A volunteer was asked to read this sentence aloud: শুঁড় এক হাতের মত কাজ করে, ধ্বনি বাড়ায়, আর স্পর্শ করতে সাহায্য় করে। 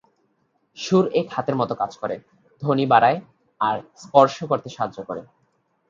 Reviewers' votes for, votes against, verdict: 2, 0, accepted